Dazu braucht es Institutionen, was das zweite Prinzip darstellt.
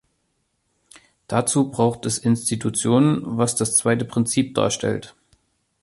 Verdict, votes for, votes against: accepted, 2, 0